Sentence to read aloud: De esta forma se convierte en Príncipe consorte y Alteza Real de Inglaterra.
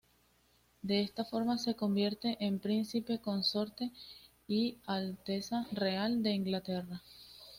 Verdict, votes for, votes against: accepted, 2, 0